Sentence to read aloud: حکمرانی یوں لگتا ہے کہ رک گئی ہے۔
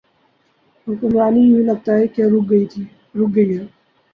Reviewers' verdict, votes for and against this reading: rejected, 0, 2